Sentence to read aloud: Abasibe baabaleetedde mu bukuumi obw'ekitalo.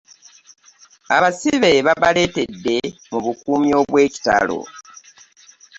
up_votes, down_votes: 0, 2